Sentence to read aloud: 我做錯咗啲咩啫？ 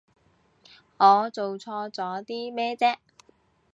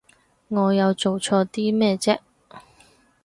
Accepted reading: first